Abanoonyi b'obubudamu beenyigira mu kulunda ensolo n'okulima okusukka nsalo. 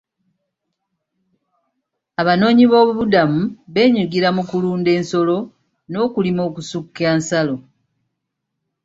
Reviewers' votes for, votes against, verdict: 2, 0, accepted